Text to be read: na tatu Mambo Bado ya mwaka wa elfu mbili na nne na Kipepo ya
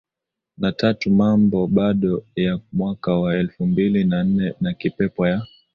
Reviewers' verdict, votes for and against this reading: accepted, 2, 0